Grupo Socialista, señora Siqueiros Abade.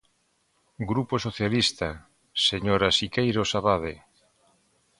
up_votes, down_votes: 2, 0